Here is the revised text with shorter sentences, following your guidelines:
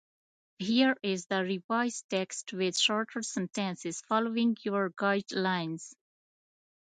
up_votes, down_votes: 0, 2